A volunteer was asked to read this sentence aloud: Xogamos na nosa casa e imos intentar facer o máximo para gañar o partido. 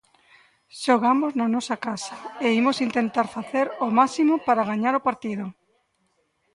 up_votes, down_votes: 1, 2